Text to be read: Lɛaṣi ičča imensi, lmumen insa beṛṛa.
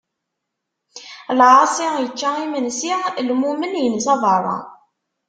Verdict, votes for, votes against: accepted, 2, 0